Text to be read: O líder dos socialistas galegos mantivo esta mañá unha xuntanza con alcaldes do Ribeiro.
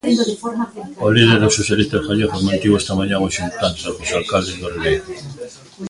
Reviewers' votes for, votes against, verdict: 1, 2, rejected